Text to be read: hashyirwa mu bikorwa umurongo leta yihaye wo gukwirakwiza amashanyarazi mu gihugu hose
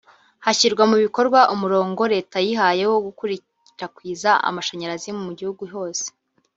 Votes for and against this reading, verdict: 0, 2, rejected